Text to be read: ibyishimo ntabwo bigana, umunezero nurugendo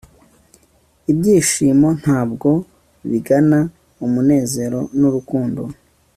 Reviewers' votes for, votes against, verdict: 1, 2, rejected